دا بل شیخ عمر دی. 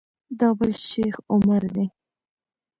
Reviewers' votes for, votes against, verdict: 2, 0, accepted